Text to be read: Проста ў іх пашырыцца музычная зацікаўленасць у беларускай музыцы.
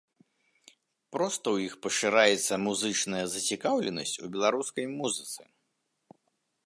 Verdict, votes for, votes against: rejected, 0, 2